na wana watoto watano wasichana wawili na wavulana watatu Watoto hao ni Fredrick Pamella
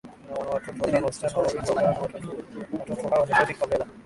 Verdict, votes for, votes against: rejected, 0, 2